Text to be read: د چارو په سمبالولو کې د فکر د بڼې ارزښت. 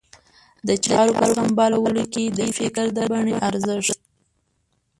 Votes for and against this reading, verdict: 0, 2, rejected